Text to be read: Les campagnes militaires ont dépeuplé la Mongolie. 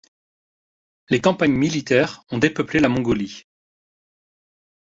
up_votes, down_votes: 2, 0